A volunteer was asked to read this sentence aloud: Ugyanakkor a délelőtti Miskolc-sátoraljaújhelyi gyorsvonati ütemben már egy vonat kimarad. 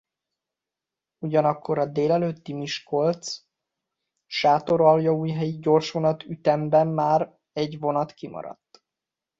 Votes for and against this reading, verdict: 0, 2, rejected